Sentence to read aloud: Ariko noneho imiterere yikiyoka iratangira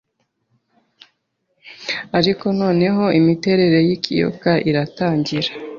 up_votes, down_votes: 4, 0